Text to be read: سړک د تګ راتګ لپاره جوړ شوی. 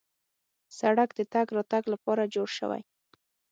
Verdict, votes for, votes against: accepted, 6, 0